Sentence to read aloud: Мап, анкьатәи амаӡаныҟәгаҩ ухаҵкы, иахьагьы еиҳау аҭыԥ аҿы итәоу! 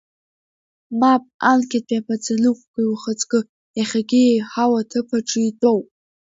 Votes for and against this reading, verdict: 2, 0, accepted